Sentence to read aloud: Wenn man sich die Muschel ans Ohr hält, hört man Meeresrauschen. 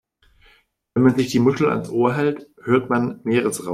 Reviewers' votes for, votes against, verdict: 0, 2, rejected